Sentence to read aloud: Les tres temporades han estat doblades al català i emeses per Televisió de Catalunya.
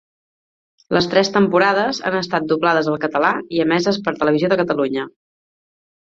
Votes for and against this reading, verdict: 4, 0, accepted